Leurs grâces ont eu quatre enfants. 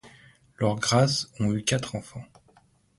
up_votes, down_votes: 3, 0